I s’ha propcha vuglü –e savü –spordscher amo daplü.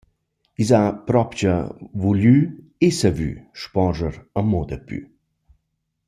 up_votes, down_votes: 2, 0